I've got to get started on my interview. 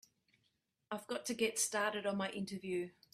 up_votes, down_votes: 2, 0